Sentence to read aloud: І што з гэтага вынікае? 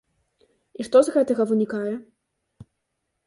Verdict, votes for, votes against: accepted, 2, 0